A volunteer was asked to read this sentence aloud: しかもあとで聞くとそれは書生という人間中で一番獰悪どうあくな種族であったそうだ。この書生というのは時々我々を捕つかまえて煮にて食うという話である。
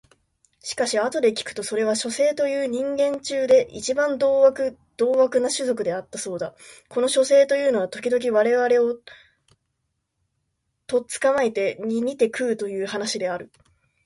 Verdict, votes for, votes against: rejected, 1, 2